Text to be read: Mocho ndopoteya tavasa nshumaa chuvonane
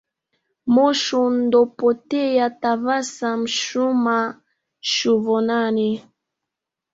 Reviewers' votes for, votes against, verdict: 0, 2, rejected